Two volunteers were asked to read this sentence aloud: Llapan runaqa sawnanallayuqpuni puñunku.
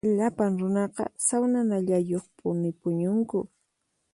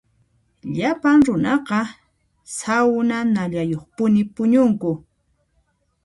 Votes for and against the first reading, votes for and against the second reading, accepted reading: 4, 0, 0, 2, first